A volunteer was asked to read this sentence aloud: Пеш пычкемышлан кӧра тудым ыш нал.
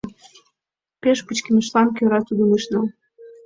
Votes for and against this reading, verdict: 2, 0, accepted